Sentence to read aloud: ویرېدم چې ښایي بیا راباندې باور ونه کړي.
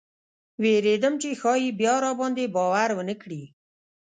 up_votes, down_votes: 0, 2